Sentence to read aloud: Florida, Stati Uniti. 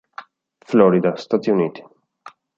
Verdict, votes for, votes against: accepted, 2, 0